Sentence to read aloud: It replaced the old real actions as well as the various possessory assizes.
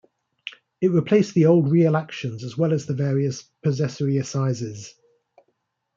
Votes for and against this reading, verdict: 2, 0, accepted